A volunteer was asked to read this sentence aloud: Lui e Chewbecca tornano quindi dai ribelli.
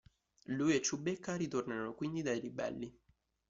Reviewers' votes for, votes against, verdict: 1, 2, rejected